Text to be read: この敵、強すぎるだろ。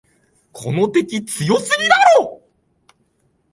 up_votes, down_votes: 2, 0